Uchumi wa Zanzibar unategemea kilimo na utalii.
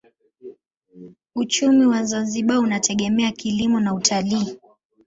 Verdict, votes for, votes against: accepted, 2, 0